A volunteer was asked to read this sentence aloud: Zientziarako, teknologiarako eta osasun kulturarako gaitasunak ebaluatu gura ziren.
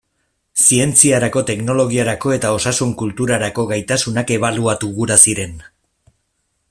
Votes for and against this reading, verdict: 2, 0, accepted